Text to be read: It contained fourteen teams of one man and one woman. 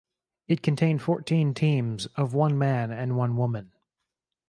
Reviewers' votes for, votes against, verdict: 4, 0, accepted